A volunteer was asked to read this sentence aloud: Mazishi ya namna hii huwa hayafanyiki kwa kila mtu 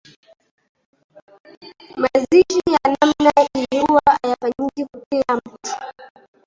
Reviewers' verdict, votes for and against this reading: rejected, 0, 2